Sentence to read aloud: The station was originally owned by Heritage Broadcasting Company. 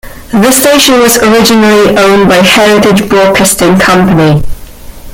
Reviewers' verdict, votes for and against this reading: accepted, 2, 1